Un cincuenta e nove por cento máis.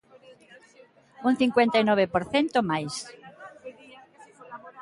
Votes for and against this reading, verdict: 2, 1, accepted